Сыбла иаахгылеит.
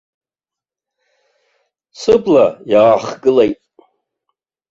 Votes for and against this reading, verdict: 2, 1, accepted